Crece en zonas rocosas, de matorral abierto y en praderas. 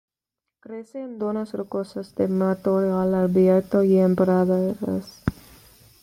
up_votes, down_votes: 1, 2